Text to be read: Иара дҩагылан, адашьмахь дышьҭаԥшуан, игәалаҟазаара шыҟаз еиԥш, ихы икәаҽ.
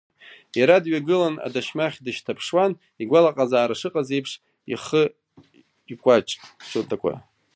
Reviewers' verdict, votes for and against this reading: rejected, 1, 2